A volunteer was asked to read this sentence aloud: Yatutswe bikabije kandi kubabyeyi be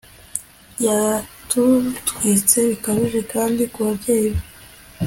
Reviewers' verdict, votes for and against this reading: accepted, 2, 0